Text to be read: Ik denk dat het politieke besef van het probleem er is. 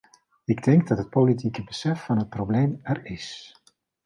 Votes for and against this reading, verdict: 2, 0, accepted